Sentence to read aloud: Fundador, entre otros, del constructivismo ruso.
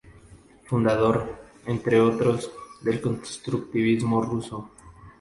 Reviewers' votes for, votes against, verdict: 2, 0, accepted